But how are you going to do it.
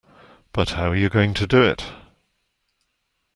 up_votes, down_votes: 2, 1